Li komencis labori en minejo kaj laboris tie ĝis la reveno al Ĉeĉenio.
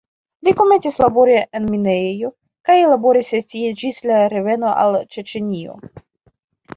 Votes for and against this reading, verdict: 1, 2, rejected